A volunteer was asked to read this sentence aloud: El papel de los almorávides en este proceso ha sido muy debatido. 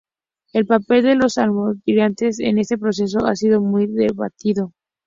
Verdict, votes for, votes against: accepted, 4, 0